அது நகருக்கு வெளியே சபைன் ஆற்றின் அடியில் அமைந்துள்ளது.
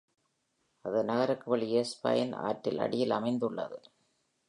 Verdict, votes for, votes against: rejected, 1, 2